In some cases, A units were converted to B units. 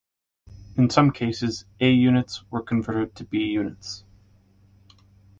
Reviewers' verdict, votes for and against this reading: accepted, 2, 1